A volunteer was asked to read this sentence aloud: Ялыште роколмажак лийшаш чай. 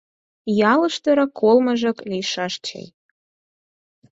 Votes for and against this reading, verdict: 4, 2, accepted